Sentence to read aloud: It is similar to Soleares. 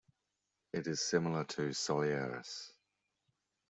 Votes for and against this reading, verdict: 2, 0, accepted